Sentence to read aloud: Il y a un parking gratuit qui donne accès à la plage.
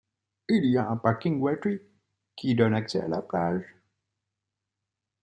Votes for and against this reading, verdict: 2, 0, accepted